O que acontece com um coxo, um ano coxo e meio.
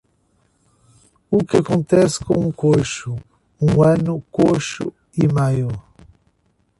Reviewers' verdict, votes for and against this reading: rejected, 1, 2